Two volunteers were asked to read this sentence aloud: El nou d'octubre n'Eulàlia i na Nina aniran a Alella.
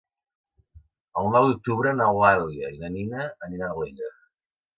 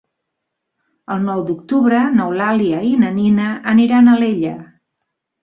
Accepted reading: second